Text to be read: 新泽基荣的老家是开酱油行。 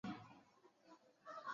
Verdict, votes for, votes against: rejected, 1, 2